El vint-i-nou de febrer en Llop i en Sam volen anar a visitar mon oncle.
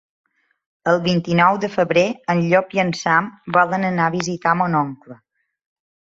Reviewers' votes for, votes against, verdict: 5, 0, accepted